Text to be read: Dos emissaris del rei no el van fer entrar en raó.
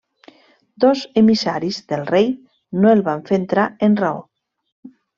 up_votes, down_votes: 0, 2